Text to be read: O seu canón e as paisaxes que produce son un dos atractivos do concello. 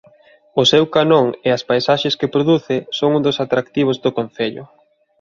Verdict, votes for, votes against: accepted, 2, 0